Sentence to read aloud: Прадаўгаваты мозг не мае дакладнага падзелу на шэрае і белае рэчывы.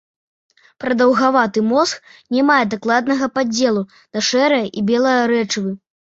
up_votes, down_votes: 0, 2